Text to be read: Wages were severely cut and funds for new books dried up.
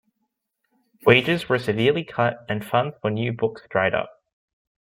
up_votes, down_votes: 1, 2